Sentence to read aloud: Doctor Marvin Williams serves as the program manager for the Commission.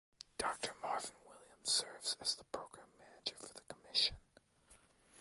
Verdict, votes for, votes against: rejected, 1, 2